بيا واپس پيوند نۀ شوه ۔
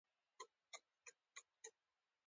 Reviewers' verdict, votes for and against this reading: accepted, 2, 1